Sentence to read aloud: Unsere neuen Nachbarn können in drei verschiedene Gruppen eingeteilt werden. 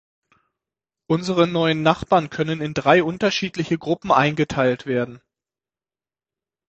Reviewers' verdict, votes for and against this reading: rejected, 0, 6